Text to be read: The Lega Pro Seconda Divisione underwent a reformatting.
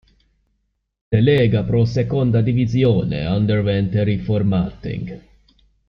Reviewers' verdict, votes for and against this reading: accepted, 3, 0